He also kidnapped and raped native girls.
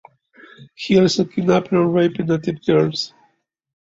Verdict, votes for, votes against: accepted, 2, 0